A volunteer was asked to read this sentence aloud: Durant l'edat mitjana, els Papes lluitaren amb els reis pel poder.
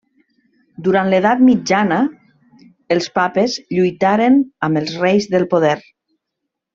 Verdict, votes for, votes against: rejected, 0, 2